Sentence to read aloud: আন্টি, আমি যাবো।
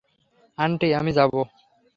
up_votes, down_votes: 3, 0